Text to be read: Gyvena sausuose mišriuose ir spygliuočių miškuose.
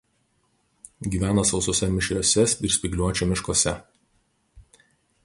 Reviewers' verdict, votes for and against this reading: rejected, 0, 2